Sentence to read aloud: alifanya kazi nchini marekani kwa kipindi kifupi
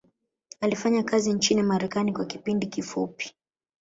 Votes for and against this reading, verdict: 0, 2, rejected